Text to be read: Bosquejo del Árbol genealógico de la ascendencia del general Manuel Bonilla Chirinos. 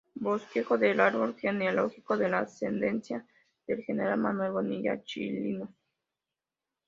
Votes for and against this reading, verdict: 0, 3, rejected